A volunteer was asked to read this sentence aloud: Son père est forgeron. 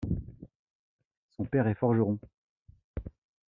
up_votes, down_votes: 2, 0